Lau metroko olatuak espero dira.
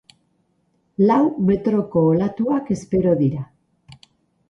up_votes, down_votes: 2, 0